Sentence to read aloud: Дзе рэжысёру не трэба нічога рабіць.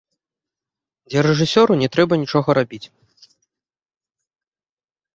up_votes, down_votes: 1, 2